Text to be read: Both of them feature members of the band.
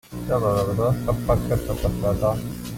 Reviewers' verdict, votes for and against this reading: rejected, 0, 2